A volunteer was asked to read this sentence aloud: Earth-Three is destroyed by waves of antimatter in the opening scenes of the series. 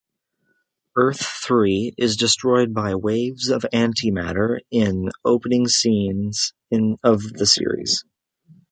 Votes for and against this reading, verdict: 0, 2, rejected